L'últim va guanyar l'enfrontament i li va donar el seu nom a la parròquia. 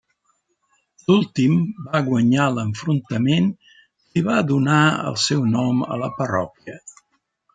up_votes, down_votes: 0, 2